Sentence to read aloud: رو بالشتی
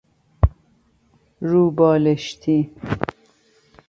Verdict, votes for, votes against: accepted, 2, 0